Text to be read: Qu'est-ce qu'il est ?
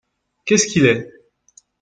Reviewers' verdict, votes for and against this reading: accepted, 2, 0